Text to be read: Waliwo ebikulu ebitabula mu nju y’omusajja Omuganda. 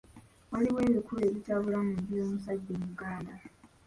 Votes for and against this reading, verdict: 1, 3, rejected